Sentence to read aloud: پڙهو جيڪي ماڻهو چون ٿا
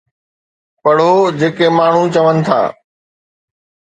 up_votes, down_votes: 2, 0